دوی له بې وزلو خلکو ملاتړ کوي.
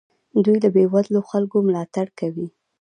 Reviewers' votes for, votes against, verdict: 1, 2, rejected